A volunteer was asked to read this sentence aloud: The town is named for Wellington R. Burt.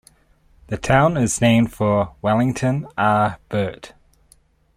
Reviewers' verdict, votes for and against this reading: accepted, 2, 0